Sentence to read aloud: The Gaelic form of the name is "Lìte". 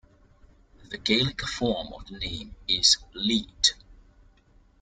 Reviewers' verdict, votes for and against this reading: rejected, 1, 2